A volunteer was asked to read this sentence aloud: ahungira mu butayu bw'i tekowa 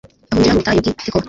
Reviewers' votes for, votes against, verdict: 1, 2, rejected